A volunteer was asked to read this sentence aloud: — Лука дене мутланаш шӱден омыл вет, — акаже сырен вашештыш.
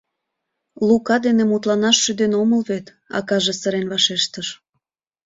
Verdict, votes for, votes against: accepted, 2, 0